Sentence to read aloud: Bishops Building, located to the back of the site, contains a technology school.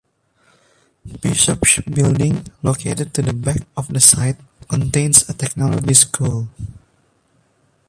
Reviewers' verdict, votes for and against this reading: accepted, 2, 1